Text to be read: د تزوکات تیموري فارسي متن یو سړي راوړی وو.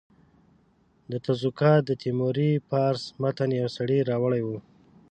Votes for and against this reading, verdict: 1, 4, rejected